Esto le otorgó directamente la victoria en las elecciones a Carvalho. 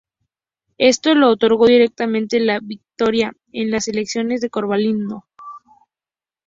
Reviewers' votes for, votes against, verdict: 2, 2, rejected